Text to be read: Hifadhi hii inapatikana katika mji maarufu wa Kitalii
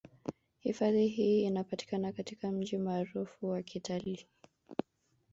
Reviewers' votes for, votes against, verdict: 1, 2, rejected